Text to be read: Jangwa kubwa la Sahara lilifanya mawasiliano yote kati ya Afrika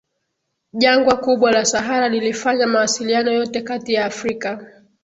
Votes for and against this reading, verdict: 2, 1, accepted